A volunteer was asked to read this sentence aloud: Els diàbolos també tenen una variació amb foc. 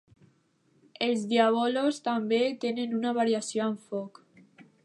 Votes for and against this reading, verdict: 0, 2, rejected